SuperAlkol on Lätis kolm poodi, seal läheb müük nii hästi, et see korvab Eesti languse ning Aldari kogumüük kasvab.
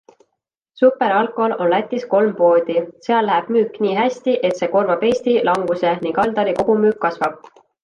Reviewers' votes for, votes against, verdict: 2, 0, accepted